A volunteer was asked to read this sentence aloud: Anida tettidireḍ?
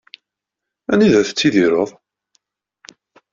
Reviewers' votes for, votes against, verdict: 2, 0, accepted